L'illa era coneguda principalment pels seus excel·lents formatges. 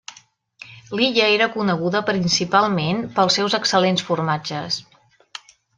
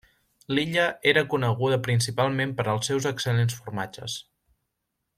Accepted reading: first